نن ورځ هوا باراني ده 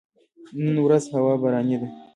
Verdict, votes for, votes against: accepted, 2, 0